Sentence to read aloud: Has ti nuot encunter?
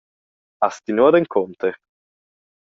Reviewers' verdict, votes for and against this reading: accepted, 2, 0